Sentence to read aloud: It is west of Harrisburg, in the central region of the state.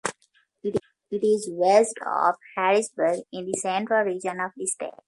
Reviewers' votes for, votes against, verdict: 1, 2, rejected